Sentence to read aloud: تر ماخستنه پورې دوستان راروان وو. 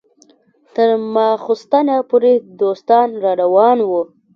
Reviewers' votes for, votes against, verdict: 1, 2, rejected